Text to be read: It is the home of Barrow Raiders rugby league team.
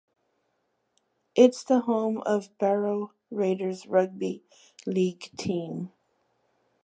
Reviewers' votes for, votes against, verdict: 2, 3, rejected